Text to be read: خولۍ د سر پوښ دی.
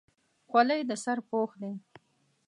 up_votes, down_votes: 2, 0